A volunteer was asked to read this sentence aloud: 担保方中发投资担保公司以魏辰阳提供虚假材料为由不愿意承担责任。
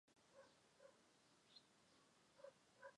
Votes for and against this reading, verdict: 1, 5, rejected